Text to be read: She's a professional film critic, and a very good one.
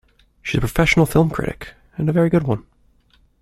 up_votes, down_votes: 1, 2